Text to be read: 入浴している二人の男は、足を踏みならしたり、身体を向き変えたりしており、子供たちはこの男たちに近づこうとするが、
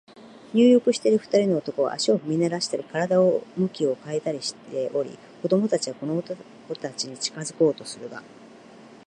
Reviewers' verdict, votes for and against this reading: rejected, 0, 2